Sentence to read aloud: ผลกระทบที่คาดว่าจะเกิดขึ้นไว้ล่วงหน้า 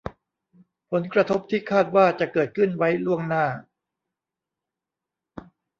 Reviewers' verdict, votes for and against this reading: rejected, 0, 2